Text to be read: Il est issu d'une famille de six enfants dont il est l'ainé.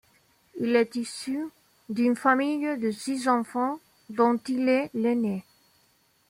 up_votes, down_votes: 2, 0